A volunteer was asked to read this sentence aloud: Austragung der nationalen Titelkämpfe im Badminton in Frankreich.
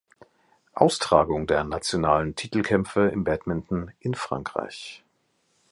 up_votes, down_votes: 2, 0